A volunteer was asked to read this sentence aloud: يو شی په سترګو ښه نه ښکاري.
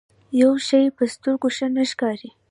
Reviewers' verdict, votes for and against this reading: accepted, 2, 0